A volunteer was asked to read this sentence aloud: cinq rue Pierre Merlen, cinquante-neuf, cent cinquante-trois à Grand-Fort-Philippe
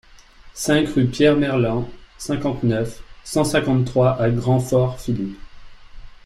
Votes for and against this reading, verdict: 2, 0, accepted